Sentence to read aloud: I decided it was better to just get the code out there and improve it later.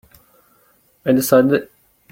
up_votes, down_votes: 0, 2